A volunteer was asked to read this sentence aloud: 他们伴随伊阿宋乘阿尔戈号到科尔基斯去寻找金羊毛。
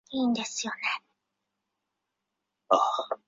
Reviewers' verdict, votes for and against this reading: rejected, 0, 2